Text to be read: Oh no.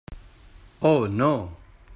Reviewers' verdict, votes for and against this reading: accepted, 3, 0